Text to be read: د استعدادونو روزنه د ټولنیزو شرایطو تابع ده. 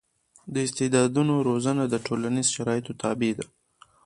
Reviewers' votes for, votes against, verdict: 1, 2, rejected